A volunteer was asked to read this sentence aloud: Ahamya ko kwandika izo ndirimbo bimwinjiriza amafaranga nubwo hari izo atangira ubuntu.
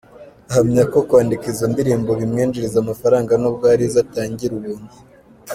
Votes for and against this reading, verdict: 2, 1, accepted